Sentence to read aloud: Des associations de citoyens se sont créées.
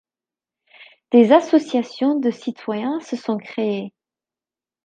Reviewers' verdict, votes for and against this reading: accepted, 2, 0